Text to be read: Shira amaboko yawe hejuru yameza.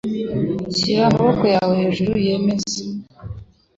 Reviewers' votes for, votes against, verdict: 1, 2, rejected